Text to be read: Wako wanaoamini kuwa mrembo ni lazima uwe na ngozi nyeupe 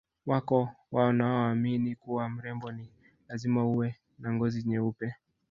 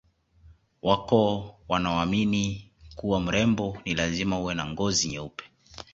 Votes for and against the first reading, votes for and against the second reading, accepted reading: 1, 2, 2, 0, second